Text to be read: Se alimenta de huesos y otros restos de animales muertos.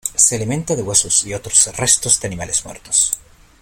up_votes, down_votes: 2, 0